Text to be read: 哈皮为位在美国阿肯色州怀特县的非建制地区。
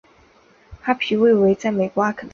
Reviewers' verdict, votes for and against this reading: rejected, 0, 3